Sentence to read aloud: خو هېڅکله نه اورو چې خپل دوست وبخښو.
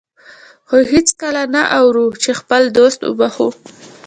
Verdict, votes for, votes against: accepted, 2, 1